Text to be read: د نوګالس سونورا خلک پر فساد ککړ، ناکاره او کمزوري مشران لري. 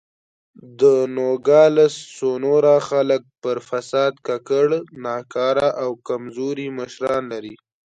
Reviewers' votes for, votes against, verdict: 2, 0, accepted